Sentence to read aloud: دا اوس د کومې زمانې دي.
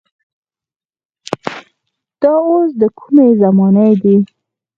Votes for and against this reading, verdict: 0, 4, rejected